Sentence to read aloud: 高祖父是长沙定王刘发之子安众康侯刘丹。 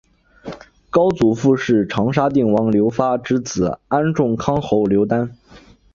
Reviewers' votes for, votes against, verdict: 4, 1, accepted